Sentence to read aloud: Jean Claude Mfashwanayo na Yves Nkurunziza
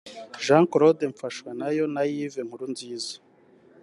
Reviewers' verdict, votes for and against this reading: accepted, 3, 1